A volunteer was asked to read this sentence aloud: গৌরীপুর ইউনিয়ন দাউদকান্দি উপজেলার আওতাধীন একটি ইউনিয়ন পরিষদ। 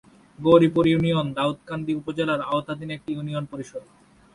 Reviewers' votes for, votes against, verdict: 2, 0, accepted